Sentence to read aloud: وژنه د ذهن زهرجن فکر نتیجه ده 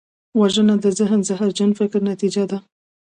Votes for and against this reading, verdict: 2, 0, accepted